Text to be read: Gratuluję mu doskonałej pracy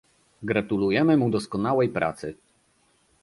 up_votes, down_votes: 1, 2